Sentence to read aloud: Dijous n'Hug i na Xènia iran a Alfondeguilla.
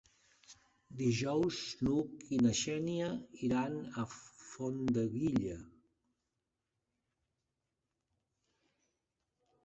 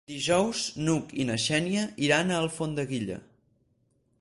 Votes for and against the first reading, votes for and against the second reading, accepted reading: 0, 4, 4, 0, second